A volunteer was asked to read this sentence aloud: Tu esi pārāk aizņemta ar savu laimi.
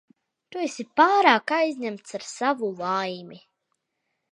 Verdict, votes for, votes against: rejected, 0, 2